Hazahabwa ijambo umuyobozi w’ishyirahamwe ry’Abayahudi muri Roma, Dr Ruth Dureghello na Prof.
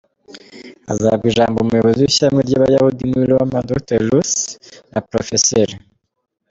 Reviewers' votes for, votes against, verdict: 2, 1, accepted